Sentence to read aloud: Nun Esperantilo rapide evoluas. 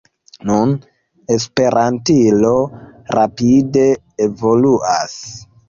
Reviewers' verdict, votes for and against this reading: rejected, 0, 2